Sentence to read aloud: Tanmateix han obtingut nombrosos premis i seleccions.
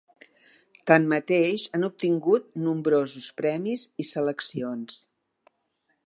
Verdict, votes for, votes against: accepted, 4, 0